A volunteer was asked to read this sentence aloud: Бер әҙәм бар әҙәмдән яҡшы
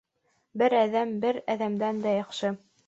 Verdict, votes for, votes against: rejected, 1, 2